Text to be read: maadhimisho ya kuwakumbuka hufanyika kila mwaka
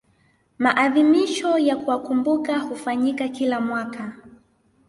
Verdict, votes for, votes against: accepted, 2, 0